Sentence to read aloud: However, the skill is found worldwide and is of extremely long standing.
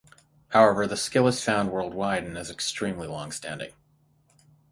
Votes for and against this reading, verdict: 3, 3, rejected